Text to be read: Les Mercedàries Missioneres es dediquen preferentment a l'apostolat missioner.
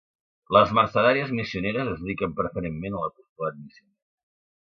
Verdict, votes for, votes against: rejected, 1, 2